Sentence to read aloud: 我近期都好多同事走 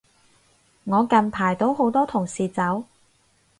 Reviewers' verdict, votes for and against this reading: rejected, 2, 4